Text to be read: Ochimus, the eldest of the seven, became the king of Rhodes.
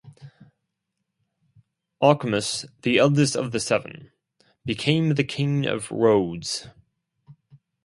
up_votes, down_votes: 4, 0